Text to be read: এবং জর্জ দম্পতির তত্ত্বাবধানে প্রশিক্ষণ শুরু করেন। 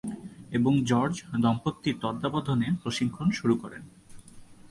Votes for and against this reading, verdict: 2, 0, accepted